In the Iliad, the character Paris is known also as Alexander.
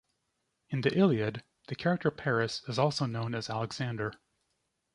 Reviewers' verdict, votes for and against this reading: rejected, 1, 2